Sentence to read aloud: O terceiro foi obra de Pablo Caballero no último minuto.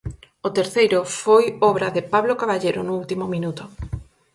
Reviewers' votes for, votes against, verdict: 4, 0, accepted